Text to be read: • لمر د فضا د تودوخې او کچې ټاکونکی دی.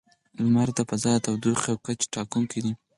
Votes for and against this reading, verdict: 2, 4, rejected